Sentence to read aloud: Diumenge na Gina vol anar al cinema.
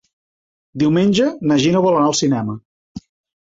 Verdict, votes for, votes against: accepted, 3, 1